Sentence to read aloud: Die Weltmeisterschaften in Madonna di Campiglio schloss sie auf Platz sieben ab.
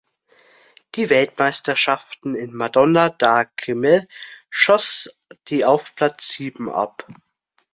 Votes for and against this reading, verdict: 0, 2, rejected